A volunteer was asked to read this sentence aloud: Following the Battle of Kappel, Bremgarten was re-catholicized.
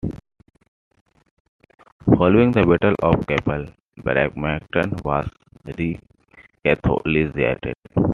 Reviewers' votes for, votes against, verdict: 0, 2, rejected